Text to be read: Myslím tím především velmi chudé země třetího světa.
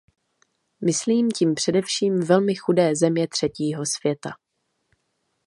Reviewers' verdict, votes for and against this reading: accepted, 2, 0